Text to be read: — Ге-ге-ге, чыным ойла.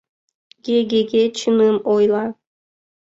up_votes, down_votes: 2, 0